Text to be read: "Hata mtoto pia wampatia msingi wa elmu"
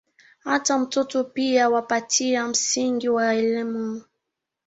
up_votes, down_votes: 1, 2